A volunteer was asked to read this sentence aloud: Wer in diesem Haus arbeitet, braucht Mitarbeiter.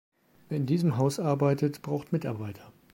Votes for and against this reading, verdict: 2, 0, accepted